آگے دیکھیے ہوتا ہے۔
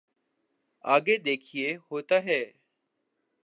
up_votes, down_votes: 2, 0